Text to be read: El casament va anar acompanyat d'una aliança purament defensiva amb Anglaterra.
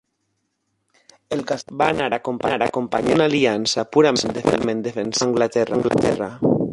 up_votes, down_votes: 0, 2